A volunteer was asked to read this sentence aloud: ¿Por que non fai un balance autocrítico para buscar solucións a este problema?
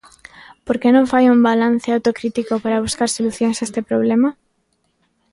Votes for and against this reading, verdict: 2, 0, accepted